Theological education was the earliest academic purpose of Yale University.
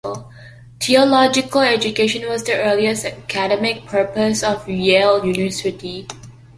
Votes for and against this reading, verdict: 2, 1, accepted